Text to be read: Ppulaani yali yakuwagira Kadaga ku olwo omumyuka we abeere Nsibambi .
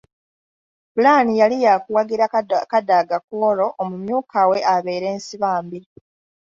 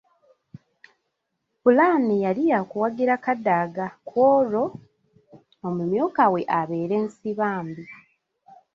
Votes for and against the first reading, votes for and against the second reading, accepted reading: 0, 2, 2, 0, second